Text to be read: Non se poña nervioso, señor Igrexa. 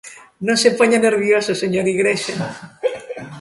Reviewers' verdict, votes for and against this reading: rejected, 1, 2